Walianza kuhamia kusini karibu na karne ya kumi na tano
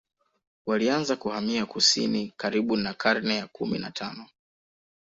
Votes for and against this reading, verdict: 2, 0, accepted